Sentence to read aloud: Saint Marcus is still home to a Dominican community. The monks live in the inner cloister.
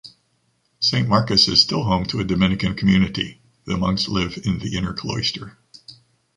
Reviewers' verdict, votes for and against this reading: accepted, 2, 0